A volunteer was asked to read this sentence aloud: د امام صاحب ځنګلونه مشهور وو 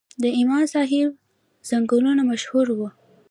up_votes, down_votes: 0, 2